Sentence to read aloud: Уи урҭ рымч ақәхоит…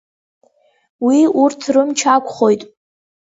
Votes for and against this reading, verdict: 2, 0, accepted